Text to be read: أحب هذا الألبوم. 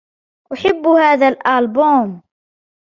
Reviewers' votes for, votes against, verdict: 1, 2, rejected